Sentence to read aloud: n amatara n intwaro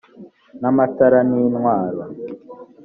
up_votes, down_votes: 2, 0